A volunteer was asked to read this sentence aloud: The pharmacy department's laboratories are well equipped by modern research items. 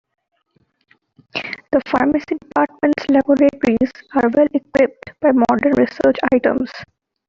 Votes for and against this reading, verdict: 2, 1, accepted